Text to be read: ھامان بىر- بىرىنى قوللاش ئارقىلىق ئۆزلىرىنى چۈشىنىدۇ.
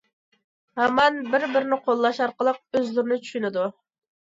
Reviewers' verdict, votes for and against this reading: accepted, 2, 0